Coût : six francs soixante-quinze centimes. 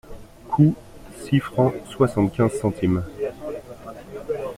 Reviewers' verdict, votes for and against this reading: accepted, 2, 0